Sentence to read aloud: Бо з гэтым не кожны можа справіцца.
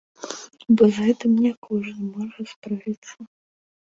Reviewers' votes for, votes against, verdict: 2, 0, accepted